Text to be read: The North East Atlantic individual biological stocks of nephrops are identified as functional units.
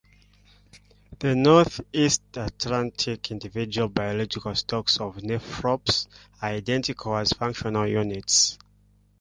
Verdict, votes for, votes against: rejected, 1, 2